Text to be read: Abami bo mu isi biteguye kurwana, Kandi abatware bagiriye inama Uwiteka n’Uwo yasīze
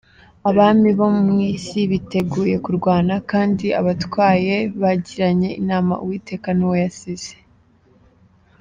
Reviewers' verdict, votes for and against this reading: rejected, 0, 2